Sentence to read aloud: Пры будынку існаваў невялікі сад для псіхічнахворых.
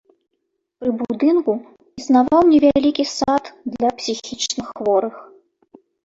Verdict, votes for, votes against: rejected, 0, 2